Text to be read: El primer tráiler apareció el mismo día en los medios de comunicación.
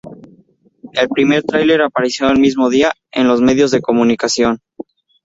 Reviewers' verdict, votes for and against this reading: accepted, 2, 0